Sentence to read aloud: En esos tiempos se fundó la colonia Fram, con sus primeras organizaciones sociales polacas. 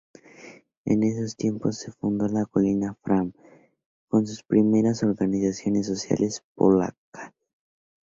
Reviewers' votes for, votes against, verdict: 2, 4, rejected